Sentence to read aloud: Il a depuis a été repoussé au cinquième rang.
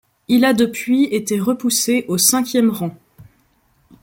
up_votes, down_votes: 1, 2